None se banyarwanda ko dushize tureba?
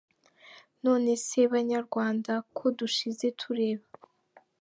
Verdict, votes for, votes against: accepted, 2, 0